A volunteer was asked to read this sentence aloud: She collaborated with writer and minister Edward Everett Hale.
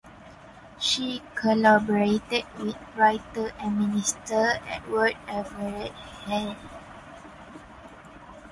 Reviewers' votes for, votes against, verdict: 2, 0, accepted